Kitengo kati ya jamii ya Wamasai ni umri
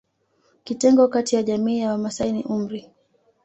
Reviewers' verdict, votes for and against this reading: accepted, 2, 1